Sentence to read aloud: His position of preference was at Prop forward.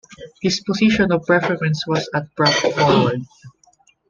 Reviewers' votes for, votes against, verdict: 1, 2, rejected